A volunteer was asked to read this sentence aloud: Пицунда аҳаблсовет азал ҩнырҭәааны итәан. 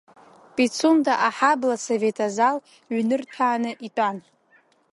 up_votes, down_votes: 2, 1